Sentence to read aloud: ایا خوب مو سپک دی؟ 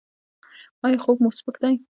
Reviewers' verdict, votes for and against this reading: rejected, 0, 2